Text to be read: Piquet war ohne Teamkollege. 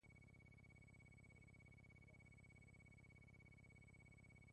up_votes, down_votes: 0, 2